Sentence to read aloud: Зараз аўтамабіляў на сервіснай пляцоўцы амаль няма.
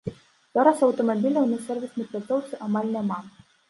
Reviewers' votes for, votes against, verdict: 2, 1, accepted